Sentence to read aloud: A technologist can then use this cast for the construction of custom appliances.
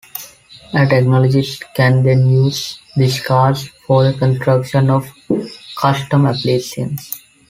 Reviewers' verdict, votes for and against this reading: rejected, 0, 3